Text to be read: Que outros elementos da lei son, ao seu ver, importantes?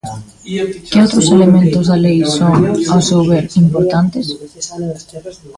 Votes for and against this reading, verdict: 0, 2, rejected